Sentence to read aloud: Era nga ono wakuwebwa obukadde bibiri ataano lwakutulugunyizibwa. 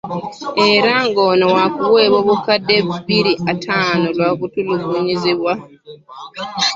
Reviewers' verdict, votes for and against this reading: rejected, 0, 2